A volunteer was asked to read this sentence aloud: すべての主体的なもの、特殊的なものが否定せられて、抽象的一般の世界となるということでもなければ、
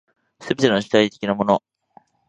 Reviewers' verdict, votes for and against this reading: rejected, 0, 2